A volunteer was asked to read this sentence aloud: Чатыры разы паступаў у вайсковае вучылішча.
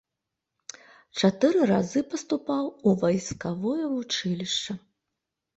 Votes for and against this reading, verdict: 0, 2, rejected